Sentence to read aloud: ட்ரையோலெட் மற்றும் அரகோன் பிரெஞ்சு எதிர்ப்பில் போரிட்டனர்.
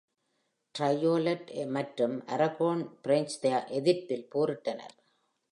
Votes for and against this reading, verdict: 1, 2, rejected